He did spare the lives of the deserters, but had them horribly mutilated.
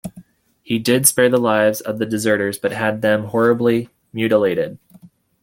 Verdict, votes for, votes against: accepted, 2, 0